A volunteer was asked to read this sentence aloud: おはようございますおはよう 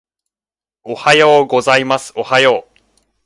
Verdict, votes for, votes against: accepted, 2, 0